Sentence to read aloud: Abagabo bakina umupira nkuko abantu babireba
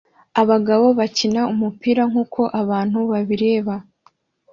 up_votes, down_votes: 2, 0